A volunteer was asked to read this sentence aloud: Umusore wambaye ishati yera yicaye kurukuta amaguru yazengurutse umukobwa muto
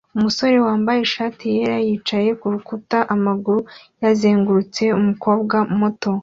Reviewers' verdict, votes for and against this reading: accepted, 2, 0